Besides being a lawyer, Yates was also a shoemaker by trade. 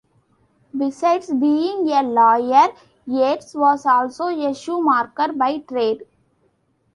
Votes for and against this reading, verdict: 2, 1, accepted